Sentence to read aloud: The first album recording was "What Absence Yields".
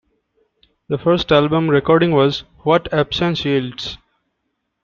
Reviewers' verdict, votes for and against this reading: rejected, 1, 2